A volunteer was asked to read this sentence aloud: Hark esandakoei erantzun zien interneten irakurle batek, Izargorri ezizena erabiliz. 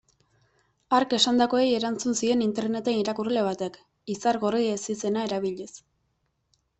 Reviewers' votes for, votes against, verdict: 2, 0, accepted